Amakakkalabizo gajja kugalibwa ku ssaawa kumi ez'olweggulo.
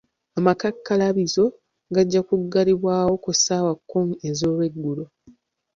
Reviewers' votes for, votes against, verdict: 2, 0, accepted